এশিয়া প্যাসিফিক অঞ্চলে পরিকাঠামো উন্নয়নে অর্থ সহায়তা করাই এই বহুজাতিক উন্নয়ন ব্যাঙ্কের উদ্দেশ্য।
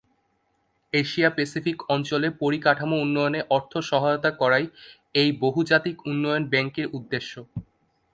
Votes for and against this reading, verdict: 2, 0, accepted